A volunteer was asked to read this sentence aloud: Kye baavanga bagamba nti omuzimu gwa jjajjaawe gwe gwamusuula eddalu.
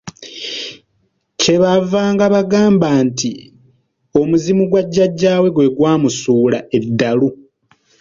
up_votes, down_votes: 2, 0